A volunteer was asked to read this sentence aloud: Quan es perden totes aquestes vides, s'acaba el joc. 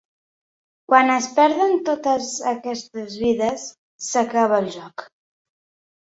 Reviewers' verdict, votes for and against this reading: accepted, 3, 0